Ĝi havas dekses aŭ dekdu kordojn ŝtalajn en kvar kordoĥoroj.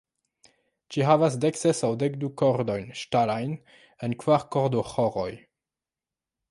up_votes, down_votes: 0, 2